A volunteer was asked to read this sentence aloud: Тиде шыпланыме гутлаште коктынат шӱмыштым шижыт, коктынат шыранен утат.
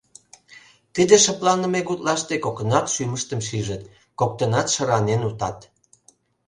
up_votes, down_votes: 0, 2